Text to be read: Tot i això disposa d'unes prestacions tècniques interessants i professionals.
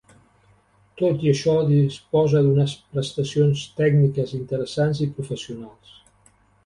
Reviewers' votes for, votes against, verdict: 2, 0, accepted